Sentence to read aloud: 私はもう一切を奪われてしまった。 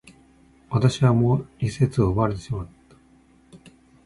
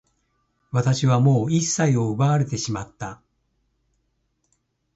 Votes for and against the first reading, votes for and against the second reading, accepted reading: 1, 2, 2, 0, second